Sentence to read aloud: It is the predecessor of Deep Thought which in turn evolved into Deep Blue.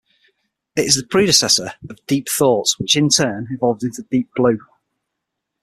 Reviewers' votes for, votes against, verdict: 6, 0, accepted